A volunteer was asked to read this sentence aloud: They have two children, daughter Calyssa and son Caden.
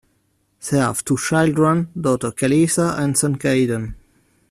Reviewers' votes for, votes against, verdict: 1, 2, rejected